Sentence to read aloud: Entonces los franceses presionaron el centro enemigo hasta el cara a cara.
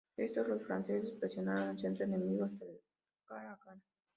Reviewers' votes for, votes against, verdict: 0, 2, rejected